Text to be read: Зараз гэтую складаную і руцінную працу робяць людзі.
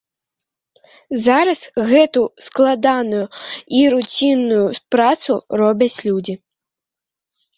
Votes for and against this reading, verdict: 2, 1, accepted